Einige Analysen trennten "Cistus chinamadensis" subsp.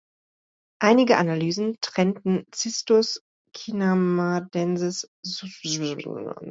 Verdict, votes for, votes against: rejected, 0, 2